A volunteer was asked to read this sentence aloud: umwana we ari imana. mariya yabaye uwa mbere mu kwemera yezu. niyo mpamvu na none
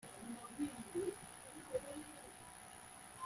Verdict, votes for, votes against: rejected, 0, 2